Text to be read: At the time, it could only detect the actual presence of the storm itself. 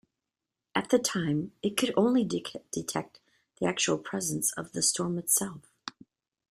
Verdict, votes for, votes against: rejected, 0, 2